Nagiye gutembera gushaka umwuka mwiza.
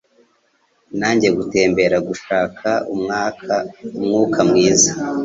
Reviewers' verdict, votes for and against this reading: rejected, 1, 2